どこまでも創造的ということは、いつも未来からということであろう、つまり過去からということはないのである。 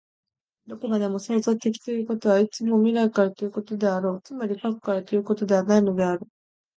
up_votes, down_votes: 2, 1